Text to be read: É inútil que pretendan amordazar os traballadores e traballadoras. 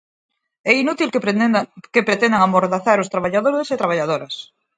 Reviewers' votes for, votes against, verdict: 0, 4, rejected